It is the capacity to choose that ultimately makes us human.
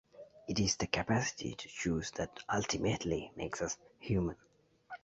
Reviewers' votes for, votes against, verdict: 2, 0, accepted